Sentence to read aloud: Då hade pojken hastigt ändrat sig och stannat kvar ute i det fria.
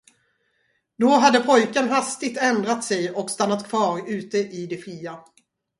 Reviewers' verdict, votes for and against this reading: accepted, 4, 0